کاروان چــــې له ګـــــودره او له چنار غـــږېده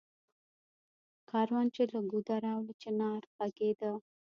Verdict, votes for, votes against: rejected, 1, 2